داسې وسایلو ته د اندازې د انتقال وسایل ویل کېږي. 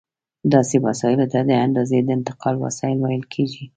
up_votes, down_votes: 2, 0